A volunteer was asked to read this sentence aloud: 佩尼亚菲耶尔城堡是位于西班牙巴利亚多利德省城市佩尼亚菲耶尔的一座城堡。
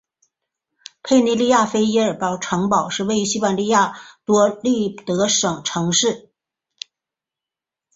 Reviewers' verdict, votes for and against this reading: rejected, 1, 2